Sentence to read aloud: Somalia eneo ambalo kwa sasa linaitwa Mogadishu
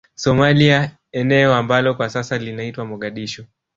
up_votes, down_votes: 1, 2